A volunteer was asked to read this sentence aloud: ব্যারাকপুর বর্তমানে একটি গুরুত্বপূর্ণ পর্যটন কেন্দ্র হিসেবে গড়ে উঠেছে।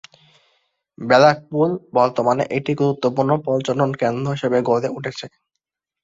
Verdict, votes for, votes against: rejected, 1, 2